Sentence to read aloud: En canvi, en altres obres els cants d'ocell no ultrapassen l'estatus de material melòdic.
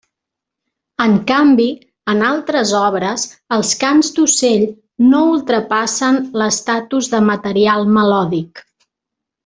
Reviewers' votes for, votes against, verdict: 2, 0, accepted